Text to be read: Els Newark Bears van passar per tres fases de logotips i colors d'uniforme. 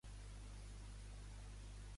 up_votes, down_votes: 0, 2